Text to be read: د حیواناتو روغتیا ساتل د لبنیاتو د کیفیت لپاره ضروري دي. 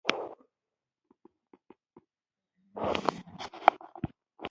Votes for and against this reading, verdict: 0, 2, rejected